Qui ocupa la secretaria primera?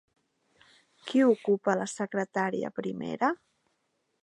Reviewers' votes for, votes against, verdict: 1, 2, rejected